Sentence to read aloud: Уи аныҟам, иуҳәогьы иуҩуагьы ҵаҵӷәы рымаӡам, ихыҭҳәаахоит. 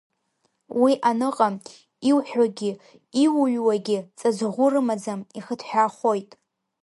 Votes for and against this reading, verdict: 2, 0, accepted